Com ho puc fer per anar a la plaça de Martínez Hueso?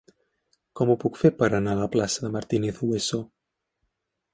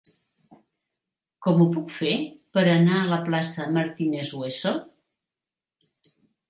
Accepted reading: first